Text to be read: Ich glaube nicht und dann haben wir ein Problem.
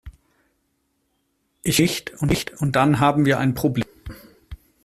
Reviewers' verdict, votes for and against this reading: rejected, 0, 2